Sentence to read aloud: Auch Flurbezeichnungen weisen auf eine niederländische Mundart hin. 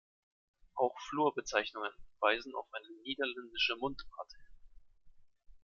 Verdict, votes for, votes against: accepted, 2, 1